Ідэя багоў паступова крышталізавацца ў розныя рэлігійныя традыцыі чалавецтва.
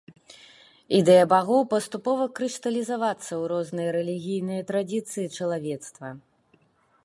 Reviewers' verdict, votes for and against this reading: rejected, 0, 2